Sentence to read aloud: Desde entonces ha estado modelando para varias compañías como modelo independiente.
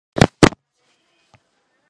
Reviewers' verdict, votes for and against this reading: rejected, 2, 2